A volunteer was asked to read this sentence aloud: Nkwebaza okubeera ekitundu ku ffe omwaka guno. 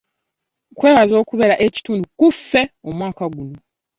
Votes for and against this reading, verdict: 2, 0, accepted